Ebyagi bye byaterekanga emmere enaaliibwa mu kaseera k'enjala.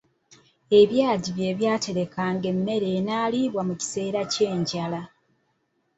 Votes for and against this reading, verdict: 1, 2, rejected